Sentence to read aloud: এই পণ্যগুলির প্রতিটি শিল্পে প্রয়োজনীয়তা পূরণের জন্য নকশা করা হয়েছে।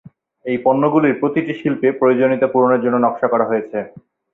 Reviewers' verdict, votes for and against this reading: accepted, 4, 0